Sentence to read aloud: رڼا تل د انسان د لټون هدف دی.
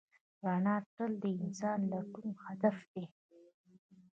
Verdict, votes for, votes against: rejected, 1, 2